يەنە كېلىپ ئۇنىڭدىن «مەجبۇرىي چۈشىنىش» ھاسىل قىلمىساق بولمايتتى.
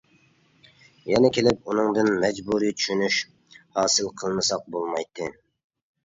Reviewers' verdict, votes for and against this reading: accepted, 2, 0